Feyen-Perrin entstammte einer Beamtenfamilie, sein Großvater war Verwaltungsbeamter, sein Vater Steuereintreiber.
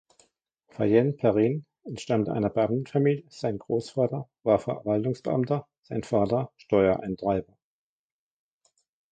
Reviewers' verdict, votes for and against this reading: rejected, 1, 2